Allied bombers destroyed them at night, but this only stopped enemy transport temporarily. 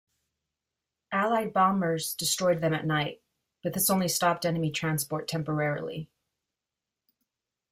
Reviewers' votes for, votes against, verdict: 2, 0, accepted